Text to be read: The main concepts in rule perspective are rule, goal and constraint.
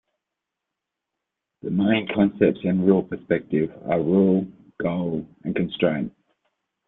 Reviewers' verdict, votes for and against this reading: rejected, 1, 2